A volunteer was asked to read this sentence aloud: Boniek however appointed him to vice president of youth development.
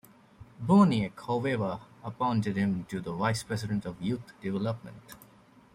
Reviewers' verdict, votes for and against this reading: rejected, 0, 2